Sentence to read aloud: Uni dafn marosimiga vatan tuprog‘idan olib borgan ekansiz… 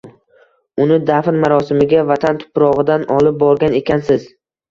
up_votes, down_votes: 2, 0